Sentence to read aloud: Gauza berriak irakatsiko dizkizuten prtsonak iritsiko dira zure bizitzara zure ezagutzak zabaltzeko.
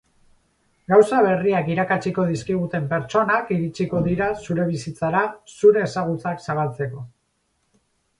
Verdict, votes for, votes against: rejected, 2, 4